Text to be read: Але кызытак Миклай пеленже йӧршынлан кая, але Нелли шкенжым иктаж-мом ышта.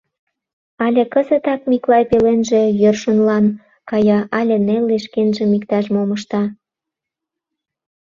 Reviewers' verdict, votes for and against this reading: accepted, 2, 0